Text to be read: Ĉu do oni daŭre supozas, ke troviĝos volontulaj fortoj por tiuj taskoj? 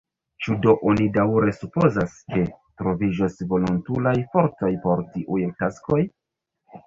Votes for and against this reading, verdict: 0, 2, rejected